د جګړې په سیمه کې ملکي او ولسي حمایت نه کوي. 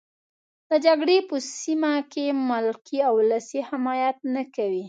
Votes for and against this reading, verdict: 3, 0, accepted